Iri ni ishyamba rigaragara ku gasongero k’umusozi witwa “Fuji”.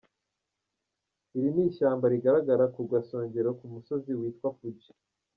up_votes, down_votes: 1, 2